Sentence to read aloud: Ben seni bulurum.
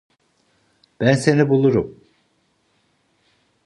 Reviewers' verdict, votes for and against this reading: accepted, 2, 0